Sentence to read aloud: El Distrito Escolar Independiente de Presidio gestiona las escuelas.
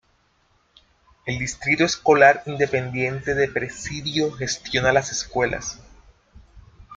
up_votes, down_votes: 2, 1